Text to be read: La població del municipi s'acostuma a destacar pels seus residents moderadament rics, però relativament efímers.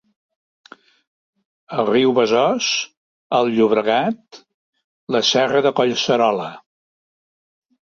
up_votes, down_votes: 0, 2